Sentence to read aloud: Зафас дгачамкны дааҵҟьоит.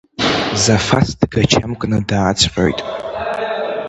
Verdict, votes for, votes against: rejected, 0, 2